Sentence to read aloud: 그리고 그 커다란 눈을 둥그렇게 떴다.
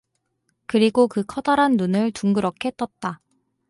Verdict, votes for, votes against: accepted, 4, 0